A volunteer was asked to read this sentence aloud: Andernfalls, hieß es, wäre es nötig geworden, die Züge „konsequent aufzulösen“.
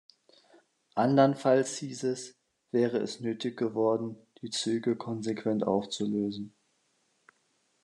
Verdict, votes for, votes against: accepted, 2, 0